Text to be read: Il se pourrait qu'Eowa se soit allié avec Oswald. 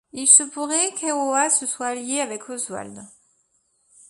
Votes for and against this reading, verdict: 2, 0, accepted